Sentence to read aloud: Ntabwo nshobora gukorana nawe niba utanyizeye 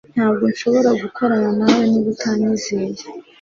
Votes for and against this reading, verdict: 2, 0, accepted